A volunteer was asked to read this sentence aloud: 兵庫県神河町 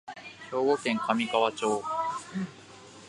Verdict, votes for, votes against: accepted, 2, 0